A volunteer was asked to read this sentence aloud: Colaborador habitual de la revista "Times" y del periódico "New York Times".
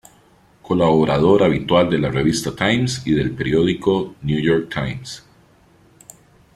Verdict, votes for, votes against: accepted, 2, 0